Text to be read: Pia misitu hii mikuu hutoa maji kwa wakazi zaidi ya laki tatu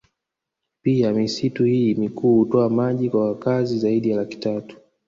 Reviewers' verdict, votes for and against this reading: rejected, 1, 2